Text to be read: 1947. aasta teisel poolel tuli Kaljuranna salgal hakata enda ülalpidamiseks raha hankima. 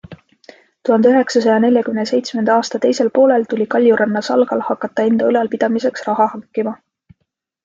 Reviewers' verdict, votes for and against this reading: rejected, 0, 2